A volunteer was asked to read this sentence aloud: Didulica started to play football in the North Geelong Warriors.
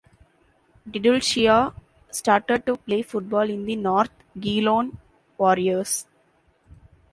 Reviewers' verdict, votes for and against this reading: accepted, 2, 1